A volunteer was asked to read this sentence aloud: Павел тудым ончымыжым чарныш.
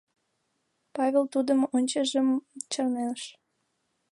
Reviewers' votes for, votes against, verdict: 1, 2, rejected